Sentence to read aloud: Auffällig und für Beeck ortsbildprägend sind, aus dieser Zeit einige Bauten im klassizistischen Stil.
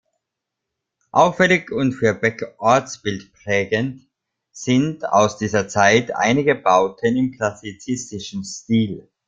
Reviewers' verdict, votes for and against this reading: rejected, 1, 2